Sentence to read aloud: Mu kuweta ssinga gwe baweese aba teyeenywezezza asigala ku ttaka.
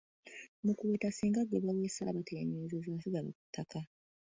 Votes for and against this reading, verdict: 1, 2, rejected